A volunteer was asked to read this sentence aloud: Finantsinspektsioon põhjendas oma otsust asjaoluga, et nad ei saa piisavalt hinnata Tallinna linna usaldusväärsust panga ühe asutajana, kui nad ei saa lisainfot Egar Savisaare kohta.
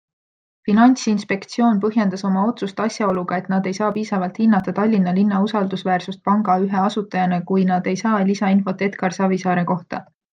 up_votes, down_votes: 2, 0